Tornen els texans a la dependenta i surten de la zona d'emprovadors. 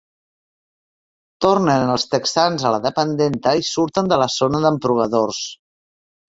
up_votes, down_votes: 4, 0